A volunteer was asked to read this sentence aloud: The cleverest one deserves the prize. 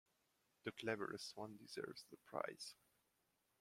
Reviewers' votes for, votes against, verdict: 2, 0, accepted